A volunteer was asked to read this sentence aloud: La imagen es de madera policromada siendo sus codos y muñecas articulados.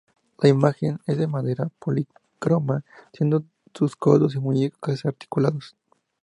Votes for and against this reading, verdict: 0, 2, rejected